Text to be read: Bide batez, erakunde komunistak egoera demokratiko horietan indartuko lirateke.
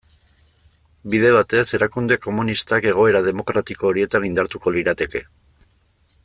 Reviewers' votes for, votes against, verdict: 1, 2, rejected